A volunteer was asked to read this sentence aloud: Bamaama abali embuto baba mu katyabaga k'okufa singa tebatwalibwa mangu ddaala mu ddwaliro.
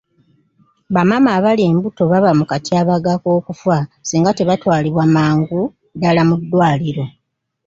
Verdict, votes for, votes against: accepted, 2, 0